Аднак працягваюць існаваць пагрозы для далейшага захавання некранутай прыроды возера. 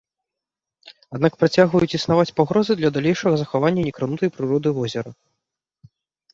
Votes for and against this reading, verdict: 2, 0, accepted